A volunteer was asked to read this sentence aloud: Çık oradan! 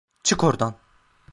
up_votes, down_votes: 2, 0